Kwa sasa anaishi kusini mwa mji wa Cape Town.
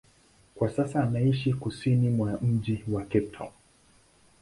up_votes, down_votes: 2, 0